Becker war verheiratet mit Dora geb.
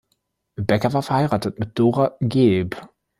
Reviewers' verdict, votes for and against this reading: rejected, 0, 2